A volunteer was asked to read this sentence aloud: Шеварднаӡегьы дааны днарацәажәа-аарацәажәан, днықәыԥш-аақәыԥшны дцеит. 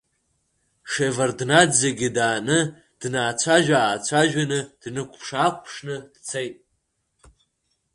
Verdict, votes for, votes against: rejected, 1, 2